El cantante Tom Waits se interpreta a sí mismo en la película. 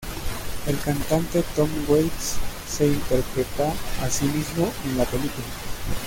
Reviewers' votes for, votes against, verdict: 1, 2, rejected